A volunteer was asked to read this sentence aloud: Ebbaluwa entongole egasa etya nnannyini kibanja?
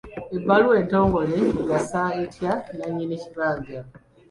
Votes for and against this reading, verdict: 2, 0, accepted